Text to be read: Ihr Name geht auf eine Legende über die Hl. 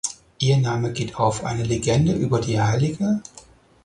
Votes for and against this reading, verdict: 4, 10, rejected